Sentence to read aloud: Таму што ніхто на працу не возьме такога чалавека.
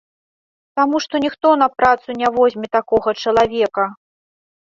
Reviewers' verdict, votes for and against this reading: accepted, 2, 0